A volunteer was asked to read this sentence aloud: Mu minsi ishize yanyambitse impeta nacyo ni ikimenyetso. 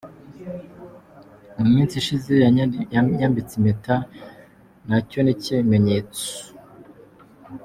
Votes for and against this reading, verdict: 1, 2, rejected